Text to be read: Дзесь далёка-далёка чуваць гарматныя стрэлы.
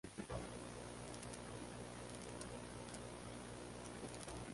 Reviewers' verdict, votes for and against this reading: rejected, 0, 2